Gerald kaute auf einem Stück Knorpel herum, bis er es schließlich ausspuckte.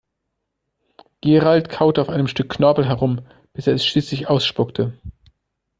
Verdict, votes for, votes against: accepted, 2, 0